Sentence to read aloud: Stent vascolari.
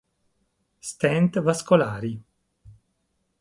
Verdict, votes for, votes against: accepted, 2, 0